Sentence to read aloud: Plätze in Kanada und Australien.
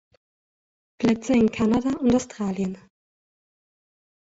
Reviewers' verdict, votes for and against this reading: rejected, 1, 2